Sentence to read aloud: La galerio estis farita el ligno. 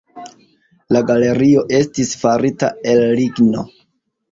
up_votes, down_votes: 2, 0